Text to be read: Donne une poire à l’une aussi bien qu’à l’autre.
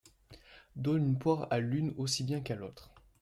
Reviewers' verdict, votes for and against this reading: accepted, 2, 0